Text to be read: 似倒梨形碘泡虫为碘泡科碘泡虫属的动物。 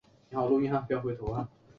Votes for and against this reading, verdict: 2, 3, rejected